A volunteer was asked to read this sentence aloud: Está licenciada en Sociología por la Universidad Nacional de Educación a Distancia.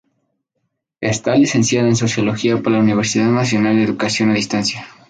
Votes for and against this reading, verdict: 0, 2, rejected